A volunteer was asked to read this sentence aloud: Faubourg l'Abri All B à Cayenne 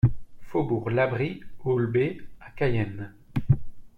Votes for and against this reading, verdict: 2, 1, accepted